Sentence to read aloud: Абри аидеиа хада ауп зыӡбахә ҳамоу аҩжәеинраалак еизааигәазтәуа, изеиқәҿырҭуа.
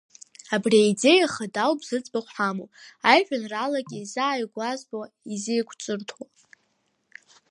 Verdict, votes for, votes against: rejected, 1, 2